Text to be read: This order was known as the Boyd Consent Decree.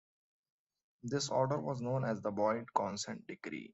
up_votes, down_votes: 2, 0